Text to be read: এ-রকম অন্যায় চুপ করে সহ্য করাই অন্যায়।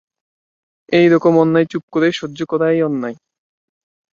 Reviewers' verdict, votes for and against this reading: accepted, 2, 0